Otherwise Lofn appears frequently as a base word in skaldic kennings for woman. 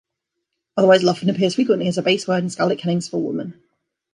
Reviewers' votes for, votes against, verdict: 2, 0, accepted